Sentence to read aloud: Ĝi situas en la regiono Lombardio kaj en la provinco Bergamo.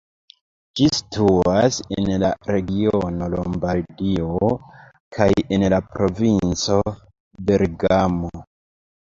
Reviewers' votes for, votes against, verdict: 0, 2, rejected